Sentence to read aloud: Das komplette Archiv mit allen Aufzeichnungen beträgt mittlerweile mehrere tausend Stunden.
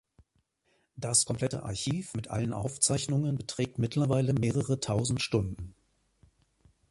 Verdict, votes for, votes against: rejected, 0, 2